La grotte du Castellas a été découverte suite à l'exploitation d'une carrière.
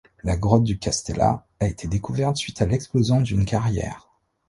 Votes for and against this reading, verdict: 1, 2, rejected